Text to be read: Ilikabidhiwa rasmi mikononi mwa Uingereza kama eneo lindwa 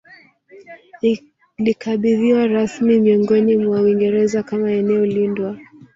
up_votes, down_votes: 1, 2